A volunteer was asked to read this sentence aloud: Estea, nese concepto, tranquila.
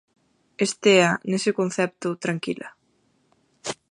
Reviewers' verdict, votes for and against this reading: accepted, 4, 0